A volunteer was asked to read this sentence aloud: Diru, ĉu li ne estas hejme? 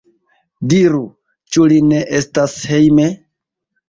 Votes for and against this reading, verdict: 2, 0, accepted